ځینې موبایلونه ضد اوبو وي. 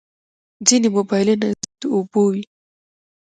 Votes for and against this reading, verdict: 1, 2, rejected